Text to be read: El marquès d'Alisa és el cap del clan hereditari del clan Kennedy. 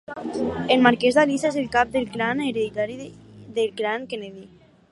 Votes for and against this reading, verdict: 4, 2, accepted